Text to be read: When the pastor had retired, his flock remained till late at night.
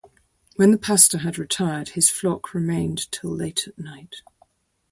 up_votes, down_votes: 0, 2